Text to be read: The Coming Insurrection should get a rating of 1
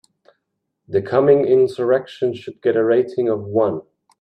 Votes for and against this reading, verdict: 0, 2, rejected